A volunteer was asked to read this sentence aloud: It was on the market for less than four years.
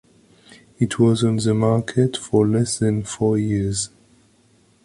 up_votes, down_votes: 2, 0